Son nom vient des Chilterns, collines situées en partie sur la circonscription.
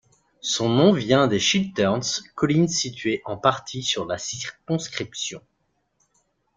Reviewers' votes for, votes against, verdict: 1, 2, rejected